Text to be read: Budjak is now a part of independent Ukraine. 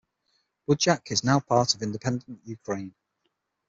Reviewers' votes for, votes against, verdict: 6, 0, accepted